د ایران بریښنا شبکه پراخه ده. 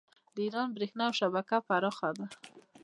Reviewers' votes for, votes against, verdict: 0, 2, rejected